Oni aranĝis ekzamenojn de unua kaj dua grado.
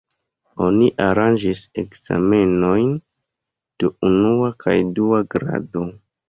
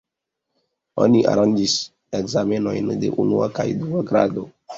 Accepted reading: second